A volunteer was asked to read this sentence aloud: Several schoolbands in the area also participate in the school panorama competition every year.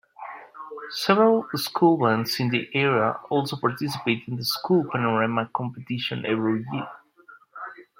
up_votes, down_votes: 1, 2